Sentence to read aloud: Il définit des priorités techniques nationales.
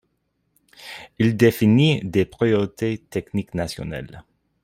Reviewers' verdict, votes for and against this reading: accepted, 2, 0